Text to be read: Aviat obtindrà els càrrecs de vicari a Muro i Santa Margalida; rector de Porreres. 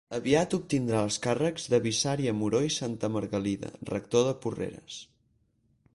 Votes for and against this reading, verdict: 2, 2, rejected